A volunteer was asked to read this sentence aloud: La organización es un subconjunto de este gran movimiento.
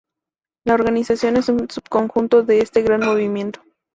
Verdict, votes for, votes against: accepted, 2, 0